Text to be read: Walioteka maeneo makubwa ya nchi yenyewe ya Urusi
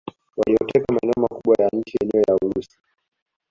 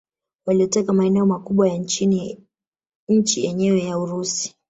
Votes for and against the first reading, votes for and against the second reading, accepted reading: 2, 1, 1, 2, first